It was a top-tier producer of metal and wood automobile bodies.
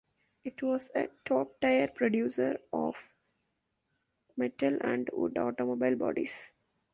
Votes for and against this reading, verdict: 0, 2, rejected